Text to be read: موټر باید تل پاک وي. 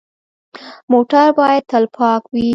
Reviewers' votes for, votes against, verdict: 2, 0, accepted